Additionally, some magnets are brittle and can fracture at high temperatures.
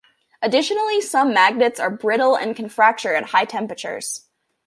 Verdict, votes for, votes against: accepted, 2, 0